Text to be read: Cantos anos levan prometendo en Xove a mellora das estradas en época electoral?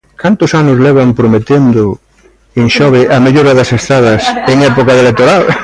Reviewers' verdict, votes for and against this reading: rejected, 0, 2